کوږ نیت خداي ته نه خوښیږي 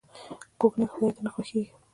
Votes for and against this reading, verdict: 2, 1, accepted